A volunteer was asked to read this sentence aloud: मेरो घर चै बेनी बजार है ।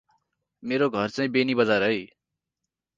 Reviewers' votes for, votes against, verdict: 4, 0, accepted